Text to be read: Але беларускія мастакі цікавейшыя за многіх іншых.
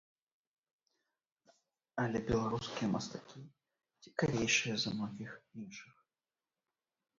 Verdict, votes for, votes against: rejected, 0, 3